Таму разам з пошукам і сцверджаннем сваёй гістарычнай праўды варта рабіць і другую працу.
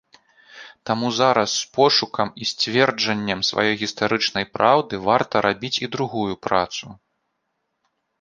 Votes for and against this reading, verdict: 0, 3, rejected